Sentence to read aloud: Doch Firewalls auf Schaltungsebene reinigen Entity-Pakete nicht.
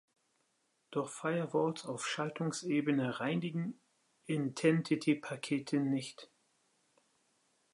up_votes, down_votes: 0, 5